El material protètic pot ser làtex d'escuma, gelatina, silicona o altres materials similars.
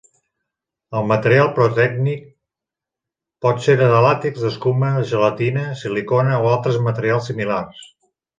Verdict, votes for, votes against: rejected, 1, 2